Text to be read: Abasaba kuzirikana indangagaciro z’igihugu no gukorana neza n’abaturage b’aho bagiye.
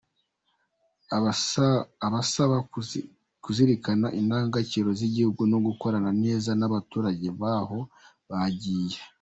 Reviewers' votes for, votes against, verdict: 1, 2, rejected